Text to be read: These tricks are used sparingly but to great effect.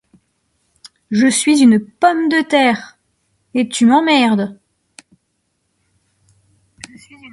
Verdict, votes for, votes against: rejected, 0, 2